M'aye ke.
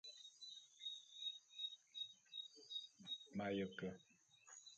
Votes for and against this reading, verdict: 1, 2, rejected